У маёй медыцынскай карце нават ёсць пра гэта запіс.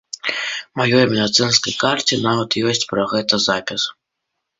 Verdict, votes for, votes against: accepted, 2, 0